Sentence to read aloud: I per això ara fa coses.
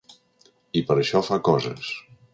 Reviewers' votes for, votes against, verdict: 0, 2, rejected